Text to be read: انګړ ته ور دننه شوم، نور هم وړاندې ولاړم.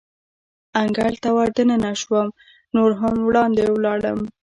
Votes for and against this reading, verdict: 2, 0, accepted